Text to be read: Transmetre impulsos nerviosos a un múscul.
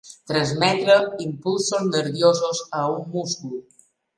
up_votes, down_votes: 1, 2